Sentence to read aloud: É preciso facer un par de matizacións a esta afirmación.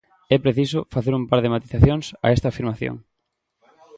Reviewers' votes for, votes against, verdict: 2, 0, accepted